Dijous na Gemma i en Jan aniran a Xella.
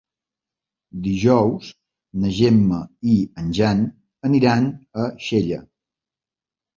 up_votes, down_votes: 3, 0